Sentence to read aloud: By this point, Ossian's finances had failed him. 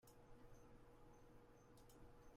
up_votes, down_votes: 0, 2